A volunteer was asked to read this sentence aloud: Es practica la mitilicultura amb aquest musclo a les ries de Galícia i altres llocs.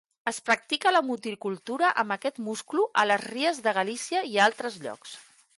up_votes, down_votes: 0, 2